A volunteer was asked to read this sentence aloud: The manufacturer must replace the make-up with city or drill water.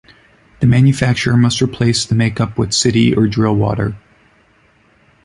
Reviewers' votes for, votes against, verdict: 2, 0, accepted